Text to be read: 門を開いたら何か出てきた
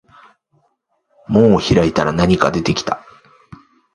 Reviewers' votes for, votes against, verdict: 2, 0, accepted